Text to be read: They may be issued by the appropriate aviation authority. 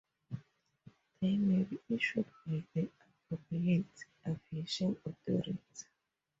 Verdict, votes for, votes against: rejected, 0, 2